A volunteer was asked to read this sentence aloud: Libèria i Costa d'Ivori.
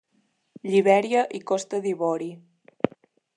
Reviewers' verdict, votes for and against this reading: accepted, 2, 0